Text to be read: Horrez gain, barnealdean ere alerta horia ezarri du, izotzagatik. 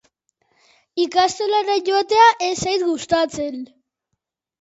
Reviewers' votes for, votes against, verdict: 0, 2, rejected